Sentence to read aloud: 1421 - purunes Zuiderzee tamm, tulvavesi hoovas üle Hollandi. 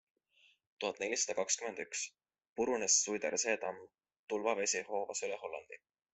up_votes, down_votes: 0, 2